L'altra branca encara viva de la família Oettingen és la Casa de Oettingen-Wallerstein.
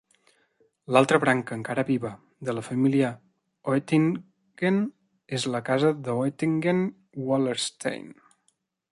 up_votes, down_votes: 0, 2